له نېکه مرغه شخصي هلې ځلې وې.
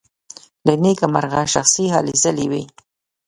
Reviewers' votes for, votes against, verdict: 2, 0, accepted